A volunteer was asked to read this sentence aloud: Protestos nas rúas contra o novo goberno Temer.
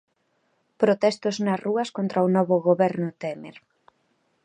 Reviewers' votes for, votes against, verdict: 2, 0, accepted